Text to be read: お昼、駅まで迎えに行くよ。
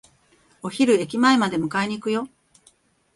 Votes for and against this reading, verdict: 1, 2, rejected